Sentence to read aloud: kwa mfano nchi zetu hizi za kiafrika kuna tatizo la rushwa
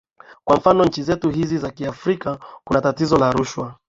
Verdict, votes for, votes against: accepted, 3, 1